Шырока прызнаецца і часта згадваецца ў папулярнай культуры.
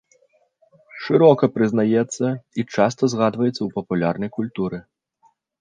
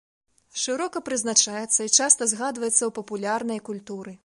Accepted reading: first